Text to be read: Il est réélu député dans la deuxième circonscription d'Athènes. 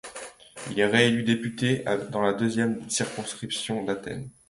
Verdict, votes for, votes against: accepted, 2, 0